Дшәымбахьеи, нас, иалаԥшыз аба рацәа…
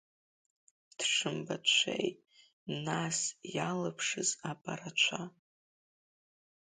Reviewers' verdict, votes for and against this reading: rejected, 1, 2